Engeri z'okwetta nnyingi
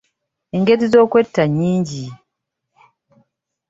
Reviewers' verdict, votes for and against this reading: accepted, 3, 1